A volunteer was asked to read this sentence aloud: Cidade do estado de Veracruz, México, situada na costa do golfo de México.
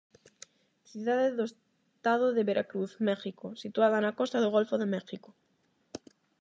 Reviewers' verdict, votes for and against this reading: rejected, 4, 4